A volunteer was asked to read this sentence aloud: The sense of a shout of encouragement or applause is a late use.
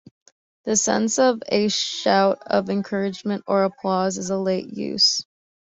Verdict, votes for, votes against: accepted, 2, 0